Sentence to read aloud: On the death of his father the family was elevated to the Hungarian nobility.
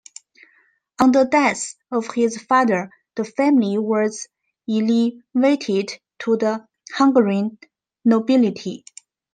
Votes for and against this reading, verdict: 1, 2, rejected